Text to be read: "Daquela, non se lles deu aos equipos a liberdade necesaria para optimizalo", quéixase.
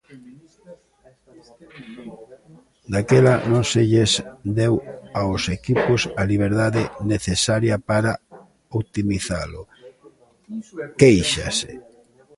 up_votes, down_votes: 0, 2